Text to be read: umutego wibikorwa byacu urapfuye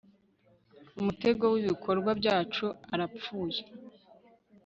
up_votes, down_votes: 2, 3